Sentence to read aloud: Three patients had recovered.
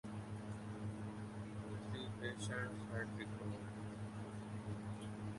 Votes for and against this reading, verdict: 0, 2, rejected